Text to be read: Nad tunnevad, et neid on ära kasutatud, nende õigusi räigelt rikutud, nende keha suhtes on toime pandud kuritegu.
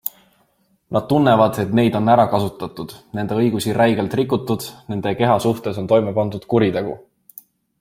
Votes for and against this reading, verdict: 2, 0, accepted